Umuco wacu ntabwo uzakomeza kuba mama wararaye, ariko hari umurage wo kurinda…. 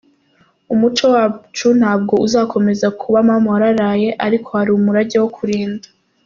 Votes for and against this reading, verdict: 2, 0, accepted